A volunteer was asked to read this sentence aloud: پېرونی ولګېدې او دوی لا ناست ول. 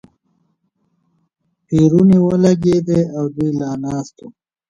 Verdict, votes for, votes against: rejected, 1, 2